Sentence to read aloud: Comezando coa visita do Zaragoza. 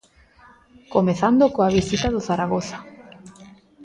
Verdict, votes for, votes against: rejected, 1, 2